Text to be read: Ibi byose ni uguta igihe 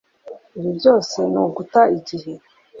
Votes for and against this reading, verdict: 2, 0, accepted